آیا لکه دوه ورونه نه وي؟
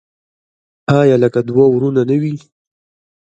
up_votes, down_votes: 1, 2